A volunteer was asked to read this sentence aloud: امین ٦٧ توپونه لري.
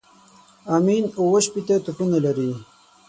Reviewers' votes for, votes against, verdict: 0, 2, rejected